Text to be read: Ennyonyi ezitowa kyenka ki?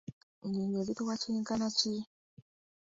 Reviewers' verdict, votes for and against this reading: accepted, 2, 0